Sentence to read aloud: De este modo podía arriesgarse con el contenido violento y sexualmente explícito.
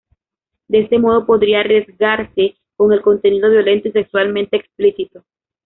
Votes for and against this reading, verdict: 0, 2, rejected